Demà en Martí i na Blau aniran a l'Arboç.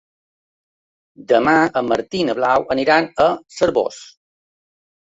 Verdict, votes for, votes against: rejected, 1, 3